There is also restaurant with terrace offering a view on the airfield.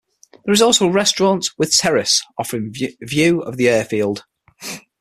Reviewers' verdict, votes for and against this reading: rejected, 3, 6